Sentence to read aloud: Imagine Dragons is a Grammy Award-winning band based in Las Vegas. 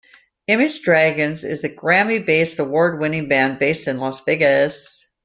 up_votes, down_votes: 0, 2